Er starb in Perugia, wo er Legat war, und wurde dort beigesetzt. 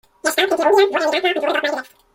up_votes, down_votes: 0, 2